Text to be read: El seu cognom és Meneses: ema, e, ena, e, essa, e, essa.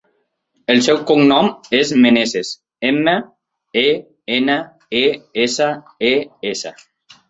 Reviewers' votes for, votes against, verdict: 2, 0, accepted